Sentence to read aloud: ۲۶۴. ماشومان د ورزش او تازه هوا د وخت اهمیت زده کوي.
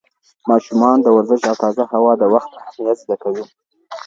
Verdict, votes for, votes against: rejected, 0, 2